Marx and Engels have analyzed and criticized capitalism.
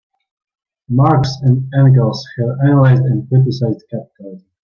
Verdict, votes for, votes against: accepted, 2, 1